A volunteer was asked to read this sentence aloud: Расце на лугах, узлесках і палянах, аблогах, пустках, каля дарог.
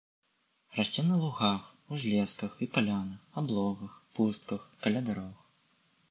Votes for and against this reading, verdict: 2, 0, accepted